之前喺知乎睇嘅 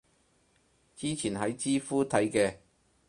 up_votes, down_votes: 4, 0